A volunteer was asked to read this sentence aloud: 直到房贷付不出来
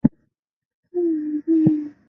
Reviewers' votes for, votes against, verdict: 1, 2, rejected